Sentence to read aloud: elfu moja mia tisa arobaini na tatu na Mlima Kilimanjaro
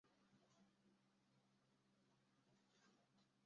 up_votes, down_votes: 0, 2